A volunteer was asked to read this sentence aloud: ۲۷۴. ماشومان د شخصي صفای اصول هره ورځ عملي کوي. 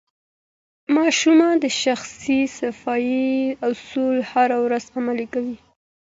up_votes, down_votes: 0, 2